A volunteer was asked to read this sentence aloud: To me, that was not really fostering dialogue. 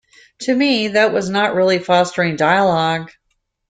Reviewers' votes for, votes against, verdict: 2, 0, accepted